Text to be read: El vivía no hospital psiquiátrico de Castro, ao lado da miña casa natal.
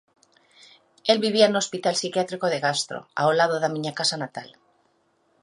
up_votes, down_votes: 2, 1